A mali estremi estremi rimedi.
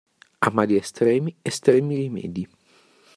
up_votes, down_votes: 2, 0